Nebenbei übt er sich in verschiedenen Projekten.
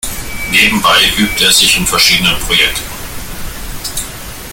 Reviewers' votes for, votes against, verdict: 1, 2, rejected